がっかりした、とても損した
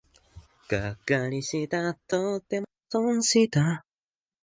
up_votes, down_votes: 1, 2